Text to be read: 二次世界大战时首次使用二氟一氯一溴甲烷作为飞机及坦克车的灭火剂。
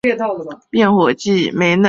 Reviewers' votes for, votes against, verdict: 1, 2, rejected